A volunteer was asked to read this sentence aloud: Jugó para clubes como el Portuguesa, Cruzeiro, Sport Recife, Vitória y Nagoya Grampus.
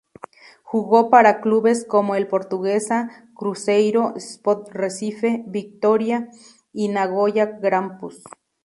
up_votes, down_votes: 2, 2